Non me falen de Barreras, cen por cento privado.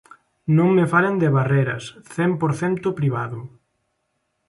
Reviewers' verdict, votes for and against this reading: accepted, 2, 0